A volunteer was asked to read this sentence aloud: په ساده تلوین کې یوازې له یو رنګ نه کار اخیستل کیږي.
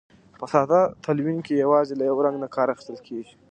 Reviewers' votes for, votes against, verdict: 2, 0, accepted